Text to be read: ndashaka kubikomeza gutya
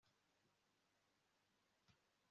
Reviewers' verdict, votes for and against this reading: accepted, 2, 1